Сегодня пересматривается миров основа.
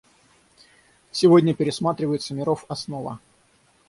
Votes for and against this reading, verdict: 6, 0, accepted